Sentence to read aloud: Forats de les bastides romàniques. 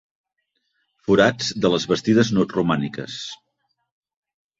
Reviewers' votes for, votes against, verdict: 1, 2, rejected